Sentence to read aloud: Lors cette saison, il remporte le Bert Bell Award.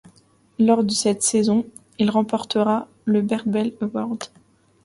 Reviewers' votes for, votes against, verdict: 2, 0, accepted